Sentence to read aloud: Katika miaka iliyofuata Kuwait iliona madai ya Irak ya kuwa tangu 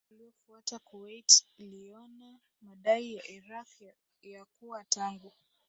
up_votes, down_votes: 0, 2